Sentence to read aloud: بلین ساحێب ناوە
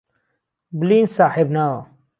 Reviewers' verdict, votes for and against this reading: accepted, 2, 0